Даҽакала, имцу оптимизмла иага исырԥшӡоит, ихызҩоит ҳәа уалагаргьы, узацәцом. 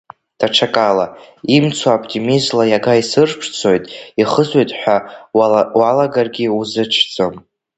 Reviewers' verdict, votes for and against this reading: rejected, 1, 2